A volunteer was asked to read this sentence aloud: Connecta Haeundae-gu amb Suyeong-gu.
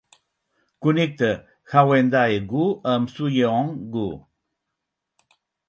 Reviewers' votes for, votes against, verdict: 6, 0, accepted